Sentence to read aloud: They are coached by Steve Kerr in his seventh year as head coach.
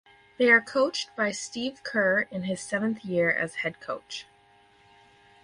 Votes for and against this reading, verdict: 4, 0, accepted